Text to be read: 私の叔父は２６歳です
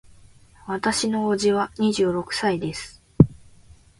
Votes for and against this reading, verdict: 0, 2, rejected